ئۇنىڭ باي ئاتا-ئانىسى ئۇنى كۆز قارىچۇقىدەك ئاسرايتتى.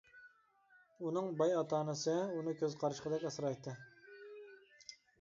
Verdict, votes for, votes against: accepted, 2, 0